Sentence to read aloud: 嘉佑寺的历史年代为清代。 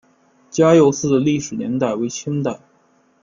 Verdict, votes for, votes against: accepted, 2, 0